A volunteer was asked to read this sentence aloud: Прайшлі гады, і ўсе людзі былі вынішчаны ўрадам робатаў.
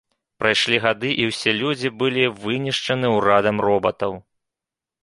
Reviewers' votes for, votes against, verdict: 2, 0, accepted